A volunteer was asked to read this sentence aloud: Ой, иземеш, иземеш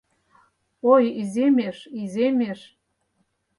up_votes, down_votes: 4, 0